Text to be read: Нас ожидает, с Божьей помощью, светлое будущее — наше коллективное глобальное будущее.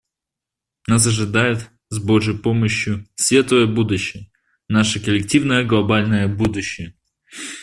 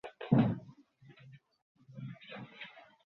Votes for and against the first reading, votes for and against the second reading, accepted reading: 2, 0, 0, 2, first